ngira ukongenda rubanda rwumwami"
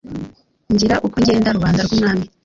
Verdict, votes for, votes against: accepted, 2, 1